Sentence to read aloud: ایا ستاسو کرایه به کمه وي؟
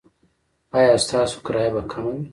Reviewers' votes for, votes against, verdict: 0, 2, rejected